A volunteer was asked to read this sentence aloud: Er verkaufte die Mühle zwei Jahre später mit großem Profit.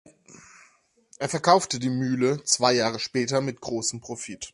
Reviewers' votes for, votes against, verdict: 2, 0, accepted